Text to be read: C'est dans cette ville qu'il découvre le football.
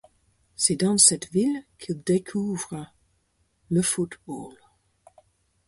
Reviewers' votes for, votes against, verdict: 4, 0, accepted